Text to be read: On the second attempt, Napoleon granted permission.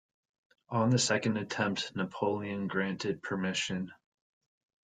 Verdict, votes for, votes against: accepted, 2, 0